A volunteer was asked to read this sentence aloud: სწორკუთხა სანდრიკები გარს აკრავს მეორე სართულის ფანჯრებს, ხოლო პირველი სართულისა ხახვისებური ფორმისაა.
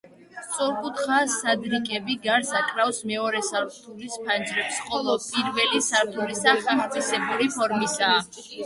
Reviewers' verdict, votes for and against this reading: rejected, 1, 2